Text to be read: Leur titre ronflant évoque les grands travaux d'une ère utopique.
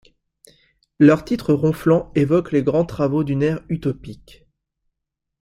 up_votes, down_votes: 2, 0